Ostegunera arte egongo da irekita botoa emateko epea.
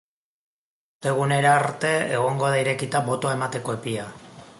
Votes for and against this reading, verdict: 2, 4, rejected